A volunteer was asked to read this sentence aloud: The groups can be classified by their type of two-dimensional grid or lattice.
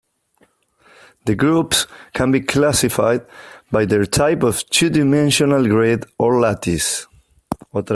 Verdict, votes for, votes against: accepted, 2, 1